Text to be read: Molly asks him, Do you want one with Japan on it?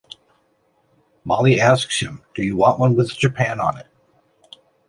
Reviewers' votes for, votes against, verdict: 0, 2, rejected